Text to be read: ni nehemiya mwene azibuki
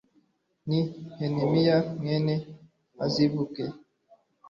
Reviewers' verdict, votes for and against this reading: accepted, 2, 0